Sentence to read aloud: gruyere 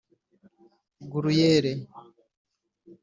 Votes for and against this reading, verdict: 2, 0, accepted